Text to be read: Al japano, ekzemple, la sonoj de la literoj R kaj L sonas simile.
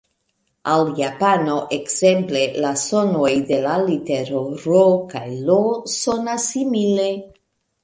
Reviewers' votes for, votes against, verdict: 1, 2, rejected